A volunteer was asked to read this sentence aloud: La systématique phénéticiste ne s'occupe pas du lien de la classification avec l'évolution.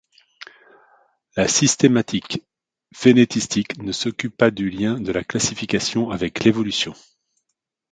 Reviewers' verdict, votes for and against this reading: rejected, 1, 2